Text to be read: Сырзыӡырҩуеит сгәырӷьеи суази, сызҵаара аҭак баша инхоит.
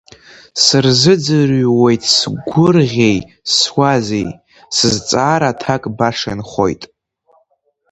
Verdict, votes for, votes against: rejected, 0, 2